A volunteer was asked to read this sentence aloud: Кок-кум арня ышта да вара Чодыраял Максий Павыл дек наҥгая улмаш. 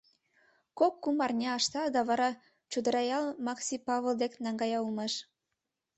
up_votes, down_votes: 1, 2